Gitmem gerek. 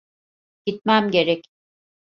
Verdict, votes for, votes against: accepted, 2, 0